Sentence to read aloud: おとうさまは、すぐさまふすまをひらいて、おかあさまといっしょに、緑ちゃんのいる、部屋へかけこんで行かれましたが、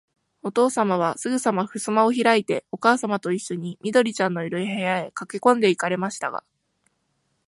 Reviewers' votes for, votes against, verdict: 2, 0, accepted